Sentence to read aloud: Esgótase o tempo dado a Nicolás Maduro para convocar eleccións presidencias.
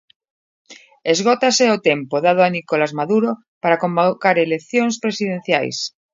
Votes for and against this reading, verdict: 2, 0, accepted